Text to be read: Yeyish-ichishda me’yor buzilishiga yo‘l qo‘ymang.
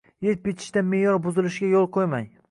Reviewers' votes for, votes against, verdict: 1, 2, rejected